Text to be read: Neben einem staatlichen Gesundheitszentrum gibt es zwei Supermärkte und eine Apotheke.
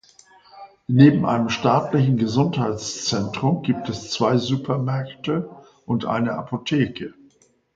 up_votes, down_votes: 2, 0